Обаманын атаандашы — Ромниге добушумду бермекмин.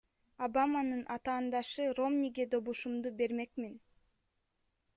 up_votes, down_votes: 2, 0